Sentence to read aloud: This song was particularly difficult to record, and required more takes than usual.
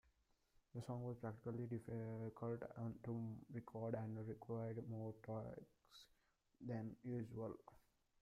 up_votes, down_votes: 0, 2